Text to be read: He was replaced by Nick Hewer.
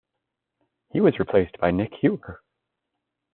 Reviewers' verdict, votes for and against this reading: rejected, 1, 2